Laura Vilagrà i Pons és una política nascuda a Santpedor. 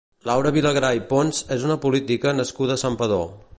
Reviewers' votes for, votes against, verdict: 1, 2, rejected